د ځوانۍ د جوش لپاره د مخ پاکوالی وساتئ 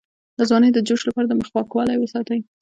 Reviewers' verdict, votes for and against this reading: accepted, 2, 1